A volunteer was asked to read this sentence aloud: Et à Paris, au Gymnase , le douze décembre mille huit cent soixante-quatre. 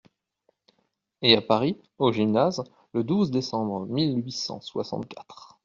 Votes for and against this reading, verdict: 2, 0, accepted